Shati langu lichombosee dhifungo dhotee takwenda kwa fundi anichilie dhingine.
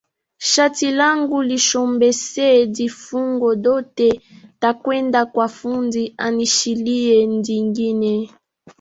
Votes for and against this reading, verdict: 0, 2, rejected